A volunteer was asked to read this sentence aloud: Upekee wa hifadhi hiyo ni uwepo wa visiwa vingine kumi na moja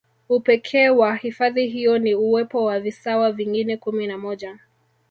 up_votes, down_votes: 1, 2